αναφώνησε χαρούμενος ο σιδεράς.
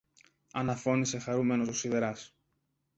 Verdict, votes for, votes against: accepted, 3, 1